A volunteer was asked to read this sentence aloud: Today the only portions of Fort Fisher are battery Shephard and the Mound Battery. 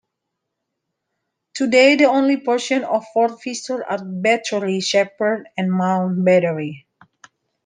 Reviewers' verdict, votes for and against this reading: rejected, 0, 2